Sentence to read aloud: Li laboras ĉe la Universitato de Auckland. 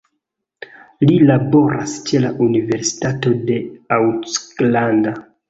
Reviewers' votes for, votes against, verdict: 2, 0, accepted